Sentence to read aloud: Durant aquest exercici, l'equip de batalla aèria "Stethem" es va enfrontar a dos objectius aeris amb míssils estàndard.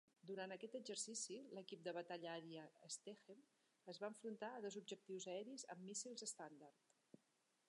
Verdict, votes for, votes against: accepted, 3, 1